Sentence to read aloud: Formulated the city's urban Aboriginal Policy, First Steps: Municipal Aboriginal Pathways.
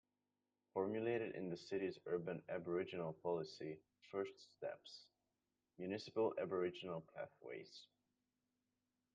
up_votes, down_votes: 2, 1